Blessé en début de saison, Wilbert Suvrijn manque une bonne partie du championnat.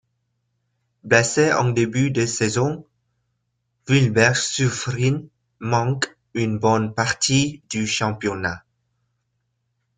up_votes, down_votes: 2, 1